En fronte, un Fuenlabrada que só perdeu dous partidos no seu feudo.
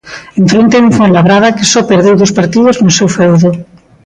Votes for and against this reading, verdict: 2, 1, accepted